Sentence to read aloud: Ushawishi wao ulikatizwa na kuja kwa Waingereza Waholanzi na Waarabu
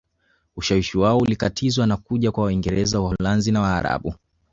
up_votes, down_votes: 1, 2